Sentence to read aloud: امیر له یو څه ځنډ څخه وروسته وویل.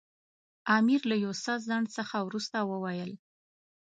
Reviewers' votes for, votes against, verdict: 2, 0, accepted